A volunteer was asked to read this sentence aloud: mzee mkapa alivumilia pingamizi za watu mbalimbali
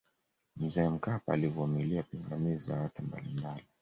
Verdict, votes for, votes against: accepted, 2, 0